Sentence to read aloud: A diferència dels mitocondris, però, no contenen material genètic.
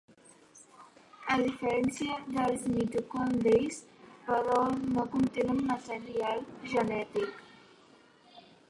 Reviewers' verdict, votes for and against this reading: rejected, 0, 2